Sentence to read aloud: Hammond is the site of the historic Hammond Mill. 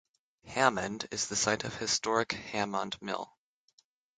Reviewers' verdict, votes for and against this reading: accepted, 6, 3